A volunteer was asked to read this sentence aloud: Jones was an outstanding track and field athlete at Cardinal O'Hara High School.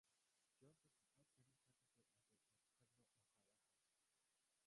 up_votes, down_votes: 0, 2